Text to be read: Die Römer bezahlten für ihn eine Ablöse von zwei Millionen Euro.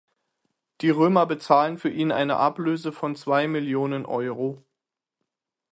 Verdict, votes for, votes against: rejected, 3, 6